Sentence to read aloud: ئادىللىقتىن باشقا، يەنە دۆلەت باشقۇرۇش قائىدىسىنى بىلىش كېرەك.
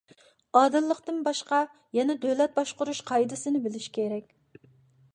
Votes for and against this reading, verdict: 2, 0, accepted